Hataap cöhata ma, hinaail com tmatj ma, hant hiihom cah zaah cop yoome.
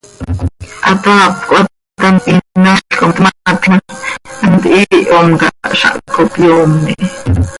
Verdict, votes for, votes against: rejected, 0, 2